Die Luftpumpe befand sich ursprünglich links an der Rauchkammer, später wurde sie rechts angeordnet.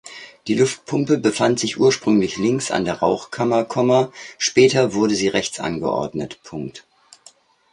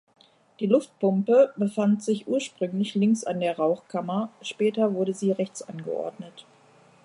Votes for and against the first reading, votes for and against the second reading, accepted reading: 0, 2, 3, 0, second